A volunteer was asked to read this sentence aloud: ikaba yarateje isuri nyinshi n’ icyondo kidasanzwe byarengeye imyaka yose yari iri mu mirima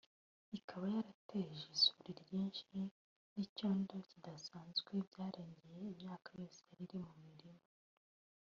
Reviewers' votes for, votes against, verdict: 0, 2, rejected